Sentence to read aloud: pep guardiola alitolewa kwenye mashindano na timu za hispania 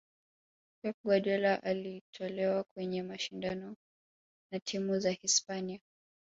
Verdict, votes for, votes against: accepted, 2, 0